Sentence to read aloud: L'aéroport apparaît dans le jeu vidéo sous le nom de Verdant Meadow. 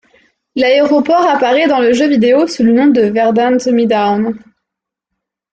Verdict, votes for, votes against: rejected, 0, 2